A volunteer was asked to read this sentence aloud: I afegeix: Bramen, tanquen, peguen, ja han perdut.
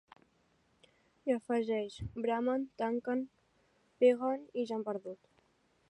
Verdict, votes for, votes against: rejected, 0, 2